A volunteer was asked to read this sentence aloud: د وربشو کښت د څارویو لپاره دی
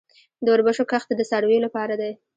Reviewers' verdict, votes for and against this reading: rejected, 1, 2